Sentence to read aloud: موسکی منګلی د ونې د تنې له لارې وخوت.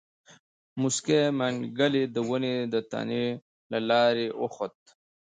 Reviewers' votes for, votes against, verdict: 0, 2, rejected